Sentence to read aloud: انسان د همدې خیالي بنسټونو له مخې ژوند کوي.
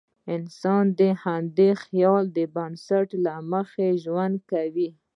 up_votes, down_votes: 0, 2